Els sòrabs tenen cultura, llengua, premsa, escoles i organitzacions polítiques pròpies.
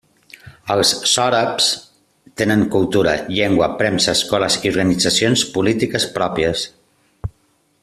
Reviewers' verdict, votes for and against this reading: rejected, 1, 2